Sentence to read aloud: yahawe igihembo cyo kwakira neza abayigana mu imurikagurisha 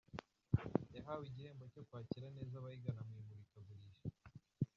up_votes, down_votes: 0, 2